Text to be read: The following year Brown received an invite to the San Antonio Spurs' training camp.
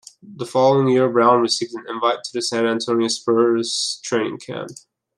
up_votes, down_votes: 2, 1